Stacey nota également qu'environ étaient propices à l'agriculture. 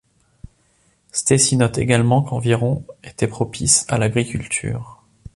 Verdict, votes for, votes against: rejected, 1, 2